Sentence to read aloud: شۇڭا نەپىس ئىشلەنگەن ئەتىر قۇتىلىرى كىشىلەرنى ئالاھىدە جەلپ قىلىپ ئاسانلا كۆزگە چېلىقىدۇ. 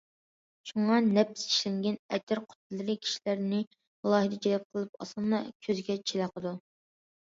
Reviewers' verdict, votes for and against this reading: accepted, 2, 0